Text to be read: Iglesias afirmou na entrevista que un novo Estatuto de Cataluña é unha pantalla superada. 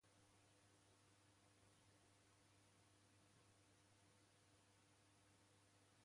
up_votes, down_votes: 0, 2